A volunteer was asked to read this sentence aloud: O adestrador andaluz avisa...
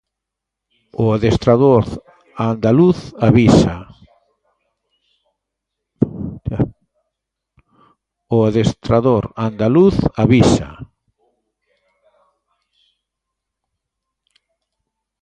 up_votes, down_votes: 0, 2